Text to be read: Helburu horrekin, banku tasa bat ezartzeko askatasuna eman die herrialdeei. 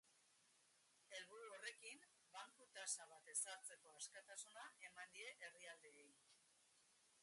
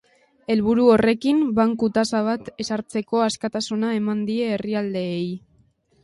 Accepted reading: second